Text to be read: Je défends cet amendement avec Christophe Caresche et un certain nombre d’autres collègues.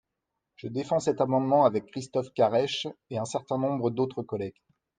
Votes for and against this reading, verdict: 2, 0, accepted